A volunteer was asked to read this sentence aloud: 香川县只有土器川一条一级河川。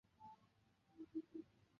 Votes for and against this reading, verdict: 0, 4, rejected